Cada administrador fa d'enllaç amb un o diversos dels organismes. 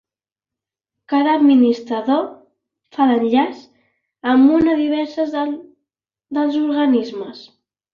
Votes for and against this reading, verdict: 1, 3, rejected